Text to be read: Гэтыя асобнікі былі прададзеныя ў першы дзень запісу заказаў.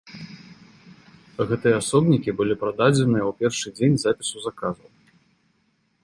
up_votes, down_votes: 2, 1